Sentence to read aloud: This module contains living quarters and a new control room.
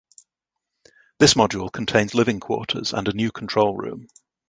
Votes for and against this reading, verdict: 2, 0, accepted